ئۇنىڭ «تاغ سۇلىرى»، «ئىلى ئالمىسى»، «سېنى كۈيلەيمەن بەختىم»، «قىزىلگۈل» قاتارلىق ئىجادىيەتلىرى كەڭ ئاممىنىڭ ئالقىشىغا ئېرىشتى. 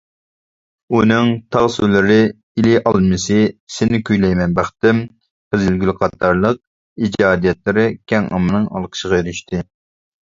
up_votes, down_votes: 2, 0